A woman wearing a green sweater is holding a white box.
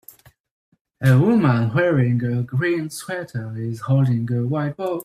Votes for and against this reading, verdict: 0, 2, rejected